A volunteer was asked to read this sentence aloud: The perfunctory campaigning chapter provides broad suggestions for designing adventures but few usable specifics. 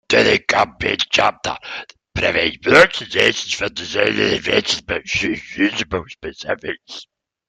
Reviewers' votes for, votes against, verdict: 0, 2, rejected